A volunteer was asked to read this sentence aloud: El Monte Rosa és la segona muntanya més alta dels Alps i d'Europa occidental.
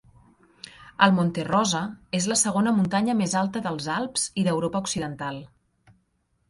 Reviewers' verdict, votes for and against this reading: accepted, 3, 1